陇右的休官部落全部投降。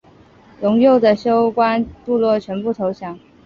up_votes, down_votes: 2, 0